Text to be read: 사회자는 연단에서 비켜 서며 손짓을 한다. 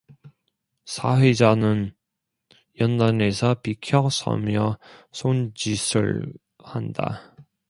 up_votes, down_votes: 1, 2